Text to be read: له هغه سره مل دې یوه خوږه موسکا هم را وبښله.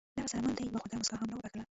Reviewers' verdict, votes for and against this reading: rejected, 0, 2